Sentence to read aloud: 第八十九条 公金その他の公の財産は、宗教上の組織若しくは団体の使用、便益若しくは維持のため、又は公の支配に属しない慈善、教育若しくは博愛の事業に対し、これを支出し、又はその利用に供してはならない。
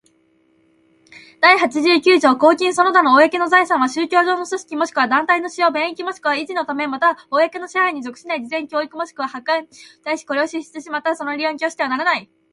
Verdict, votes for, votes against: accepted, 3, 1